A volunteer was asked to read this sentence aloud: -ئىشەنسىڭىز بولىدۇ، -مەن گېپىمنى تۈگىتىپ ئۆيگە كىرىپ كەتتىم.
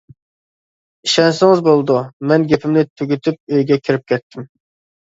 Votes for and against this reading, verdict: 2, 0, accepted